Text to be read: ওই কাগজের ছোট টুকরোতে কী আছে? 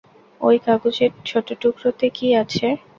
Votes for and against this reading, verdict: 2, 0, accepted